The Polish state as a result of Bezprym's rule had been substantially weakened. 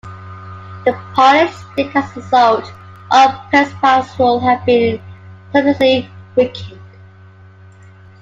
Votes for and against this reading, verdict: 2, 1, accepted